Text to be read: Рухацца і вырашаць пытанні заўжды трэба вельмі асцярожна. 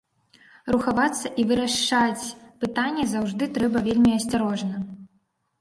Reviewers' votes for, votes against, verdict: 0, 2, rejected